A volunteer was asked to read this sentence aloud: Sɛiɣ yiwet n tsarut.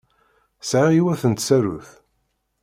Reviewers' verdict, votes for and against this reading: accepted, 2, 0